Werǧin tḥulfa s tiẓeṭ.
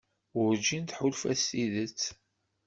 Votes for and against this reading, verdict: 1, 2, rejected